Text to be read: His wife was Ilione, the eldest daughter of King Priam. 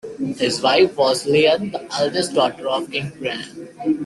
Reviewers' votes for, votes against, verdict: 0, 2, rejected